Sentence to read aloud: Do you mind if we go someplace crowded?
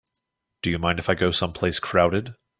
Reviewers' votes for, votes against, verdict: 2, 6, rejected